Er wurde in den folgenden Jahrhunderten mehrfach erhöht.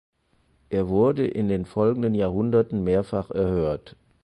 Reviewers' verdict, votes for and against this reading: rejected, 0, 4